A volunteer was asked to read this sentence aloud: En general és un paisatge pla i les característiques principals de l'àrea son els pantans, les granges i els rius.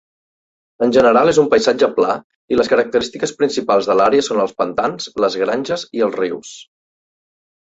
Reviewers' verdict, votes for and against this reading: accepted, 2, 0